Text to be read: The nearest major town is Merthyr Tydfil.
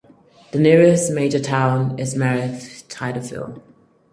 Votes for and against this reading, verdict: 2, 4, rejected